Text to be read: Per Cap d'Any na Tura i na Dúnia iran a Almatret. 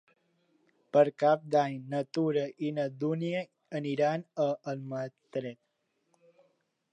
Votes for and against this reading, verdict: 0, 2, rejected